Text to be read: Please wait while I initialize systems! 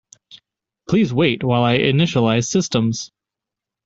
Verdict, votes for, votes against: accepted, 2, 0